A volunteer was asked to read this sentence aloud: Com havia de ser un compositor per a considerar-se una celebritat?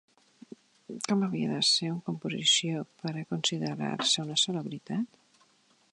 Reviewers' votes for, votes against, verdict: 0, 2, rejected